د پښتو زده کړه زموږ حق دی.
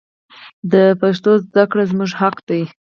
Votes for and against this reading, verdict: 2, 2, rejected